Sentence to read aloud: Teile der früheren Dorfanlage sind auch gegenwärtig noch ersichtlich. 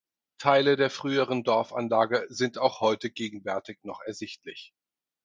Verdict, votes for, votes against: rejected, 2, 4